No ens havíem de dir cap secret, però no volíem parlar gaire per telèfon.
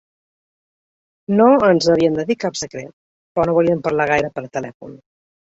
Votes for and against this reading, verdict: 3, 0, accepted